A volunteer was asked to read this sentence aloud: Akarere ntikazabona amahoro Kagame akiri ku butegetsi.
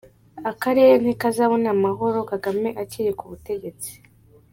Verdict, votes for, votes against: accepted, 2, 1